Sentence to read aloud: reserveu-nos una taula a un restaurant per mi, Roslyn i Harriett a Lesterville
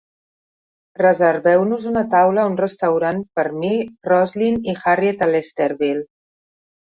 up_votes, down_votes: 3, 0